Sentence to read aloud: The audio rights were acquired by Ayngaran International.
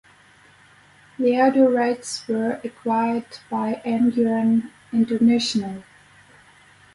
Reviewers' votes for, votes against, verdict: 8, 0, accepted